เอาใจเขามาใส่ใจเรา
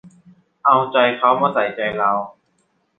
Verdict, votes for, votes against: rejected, 1, 2